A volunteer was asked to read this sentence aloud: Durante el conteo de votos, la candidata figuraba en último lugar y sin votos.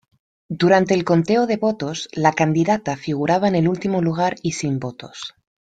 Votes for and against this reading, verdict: 1, 2, rejected